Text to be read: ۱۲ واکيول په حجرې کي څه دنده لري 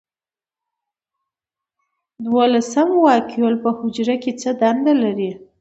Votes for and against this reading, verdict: 0, 2, rejected